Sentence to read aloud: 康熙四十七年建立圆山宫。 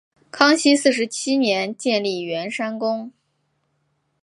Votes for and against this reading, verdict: 3, 0, accepted